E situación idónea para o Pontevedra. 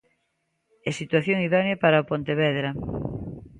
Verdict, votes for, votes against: accepted, 2, 0